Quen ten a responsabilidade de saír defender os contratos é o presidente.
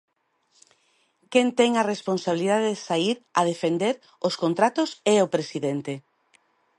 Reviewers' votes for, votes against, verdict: 1, 2, rejected